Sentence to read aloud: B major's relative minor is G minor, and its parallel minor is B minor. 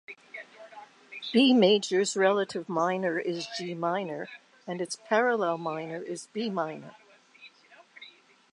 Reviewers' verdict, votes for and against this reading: accepted, 2, 0